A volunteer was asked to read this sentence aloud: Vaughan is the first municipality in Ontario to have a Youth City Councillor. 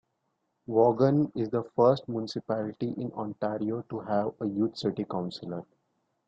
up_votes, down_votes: 3, 1